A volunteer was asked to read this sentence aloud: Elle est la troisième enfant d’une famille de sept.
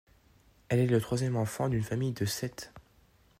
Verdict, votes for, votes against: accepted, 2, 0